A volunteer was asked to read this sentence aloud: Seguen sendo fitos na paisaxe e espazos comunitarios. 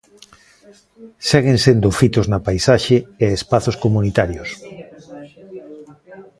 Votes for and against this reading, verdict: 1, 2, rejected